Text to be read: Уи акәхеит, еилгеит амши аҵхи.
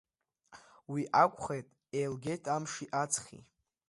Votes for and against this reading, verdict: 2, 1, accepted